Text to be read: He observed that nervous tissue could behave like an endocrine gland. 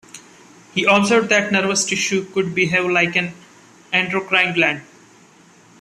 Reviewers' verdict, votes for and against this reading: rejected, 1, 2